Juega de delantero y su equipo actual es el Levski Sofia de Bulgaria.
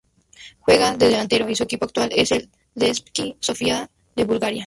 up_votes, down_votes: 0, 2